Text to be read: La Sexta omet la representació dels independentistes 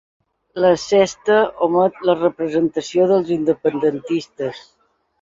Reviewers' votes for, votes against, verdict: 2, 0, accepted